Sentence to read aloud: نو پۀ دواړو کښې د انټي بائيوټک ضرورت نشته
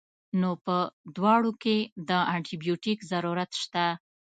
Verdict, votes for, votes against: rejected, 1, 2